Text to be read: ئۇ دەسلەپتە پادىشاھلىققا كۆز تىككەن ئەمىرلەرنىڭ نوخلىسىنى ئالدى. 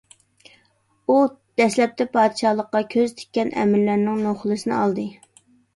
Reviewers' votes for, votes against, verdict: 2, 0, accepted